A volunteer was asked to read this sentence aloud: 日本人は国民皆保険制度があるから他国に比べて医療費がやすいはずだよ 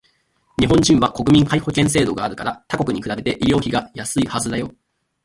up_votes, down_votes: 2, 0